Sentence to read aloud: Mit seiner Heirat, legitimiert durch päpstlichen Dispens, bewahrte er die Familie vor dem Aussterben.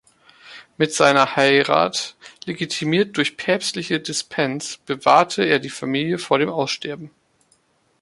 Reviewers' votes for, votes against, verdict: 1, 3, rejected